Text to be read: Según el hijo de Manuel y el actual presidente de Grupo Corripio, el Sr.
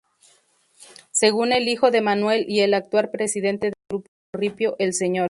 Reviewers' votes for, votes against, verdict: 0, 2, rejected